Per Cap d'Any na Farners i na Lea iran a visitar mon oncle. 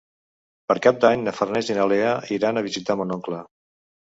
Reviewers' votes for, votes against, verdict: 2, 0, accepted